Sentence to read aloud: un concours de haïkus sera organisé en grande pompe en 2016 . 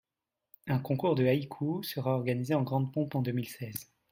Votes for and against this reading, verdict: 0, 2, rejected